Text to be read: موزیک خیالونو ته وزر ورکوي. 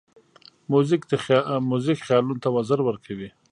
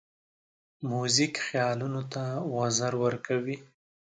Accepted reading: second